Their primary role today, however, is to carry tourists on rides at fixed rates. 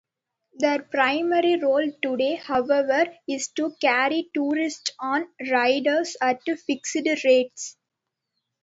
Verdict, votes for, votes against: accepted, 2, 0